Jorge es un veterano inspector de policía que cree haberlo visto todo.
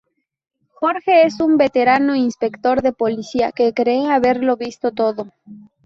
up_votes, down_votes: 2, 2